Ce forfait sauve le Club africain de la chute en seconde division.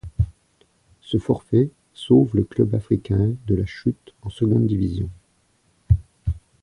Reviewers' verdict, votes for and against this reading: accepted, 2, 0